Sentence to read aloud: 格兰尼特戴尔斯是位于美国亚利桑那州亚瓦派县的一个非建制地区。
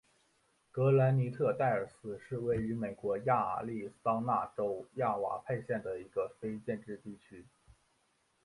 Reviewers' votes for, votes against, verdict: 2, 0, accepted